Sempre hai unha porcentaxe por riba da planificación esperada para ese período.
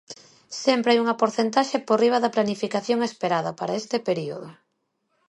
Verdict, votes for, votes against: rejected, 0, 2